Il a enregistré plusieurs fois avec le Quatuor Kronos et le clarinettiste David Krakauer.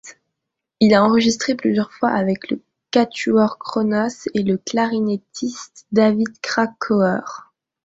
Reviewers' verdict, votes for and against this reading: accepted, 2, 0